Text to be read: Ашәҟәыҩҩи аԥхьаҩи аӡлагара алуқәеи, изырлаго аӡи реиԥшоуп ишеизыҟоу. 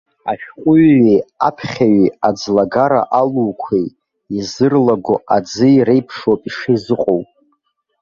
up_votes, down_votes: 2, 0